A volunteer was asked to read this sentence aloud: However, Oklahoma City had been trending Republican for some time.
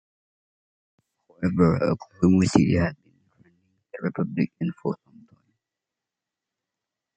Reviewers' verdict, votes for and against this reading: rejected, 0, 2